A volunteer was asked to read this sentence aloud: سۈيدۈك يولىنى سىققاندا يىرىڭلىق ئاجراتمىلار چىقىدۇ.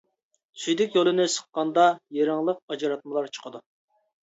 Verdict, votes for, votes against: accepted, 2, 0